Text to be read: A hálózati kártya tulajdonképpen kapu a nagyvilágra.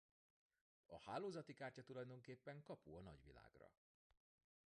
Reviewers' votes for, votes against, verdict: 1, 2, rejected